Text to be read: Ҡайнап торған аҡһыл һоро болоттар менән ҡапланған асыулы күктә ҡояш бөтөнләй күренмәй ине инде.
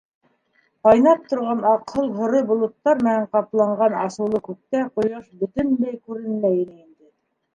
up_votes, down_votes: 0, 2